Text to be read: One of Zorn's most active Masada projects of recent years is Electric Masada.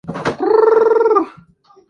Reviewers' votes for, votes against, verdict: 0, 2, rejected